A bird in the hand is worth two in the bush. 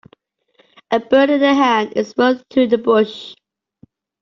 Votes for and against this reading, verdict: 2, 0, accepted